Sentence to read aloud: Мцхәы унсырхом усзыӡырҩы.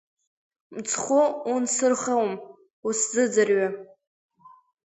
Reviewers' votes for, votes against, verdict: 2, 0, accepted